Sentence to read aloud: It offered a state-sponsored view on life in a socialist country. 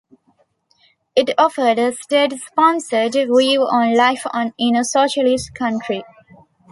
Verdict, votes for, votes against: rejected, 0, 2